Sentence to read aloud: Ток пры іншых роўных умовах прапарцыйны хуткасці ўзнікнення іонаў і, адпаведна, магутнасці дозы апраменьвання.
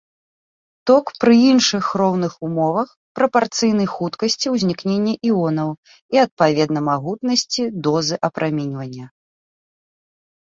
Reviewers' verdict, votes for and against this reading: accepted, 2, 0